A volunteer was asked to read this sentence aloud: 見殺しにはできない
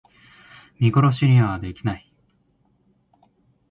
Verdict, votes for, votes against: accepted, 2, 0